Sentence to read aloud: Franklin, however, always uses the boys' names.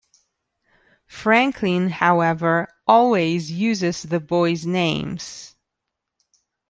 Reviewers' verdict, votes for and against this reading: accepted, 2, 0